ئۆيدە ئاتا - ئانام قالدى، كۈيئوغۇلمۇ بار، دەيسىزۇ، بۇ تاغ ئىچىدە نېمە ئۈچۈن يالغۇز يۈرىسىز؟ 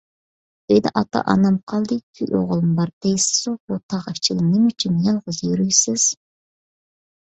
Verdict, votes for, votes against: accepted, 2, 0